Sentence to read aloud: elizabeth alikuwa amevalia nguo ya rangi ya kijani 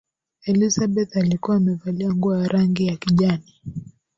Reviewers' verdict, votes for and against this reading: accepted, 2, 1